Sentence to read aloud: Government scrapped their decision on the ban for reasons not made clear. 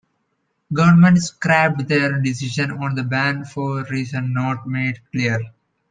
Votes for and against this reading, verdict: 2, 0, accepted